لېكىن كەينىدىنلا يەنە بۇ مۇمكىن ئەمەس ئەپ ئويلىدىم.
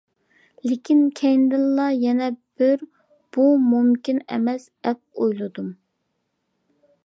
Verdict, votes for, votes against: rejected, 0, 2